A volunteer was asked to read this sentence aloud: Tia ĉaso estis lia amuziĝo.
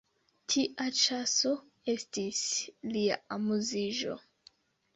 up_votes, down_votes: 1, 2